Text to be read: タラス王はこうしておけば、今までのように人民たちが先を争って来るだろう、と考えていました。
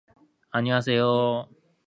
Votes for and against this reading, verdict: 2, 4, rejected